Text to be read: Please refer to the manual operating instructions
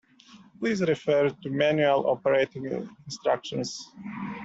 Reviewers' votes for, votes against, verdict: 0, 2, rejected